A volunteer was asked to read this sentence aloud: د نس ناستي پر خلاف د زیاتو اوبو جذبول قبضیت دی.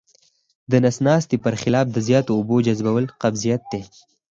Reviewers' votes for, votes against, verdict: 4, 0, accepted